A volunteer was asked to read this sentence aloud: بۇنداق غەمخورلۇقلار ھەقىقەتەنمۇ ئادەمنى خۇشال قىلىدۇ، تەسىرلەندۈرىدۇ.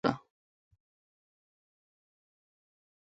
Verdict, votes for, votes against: rejected, 0, 2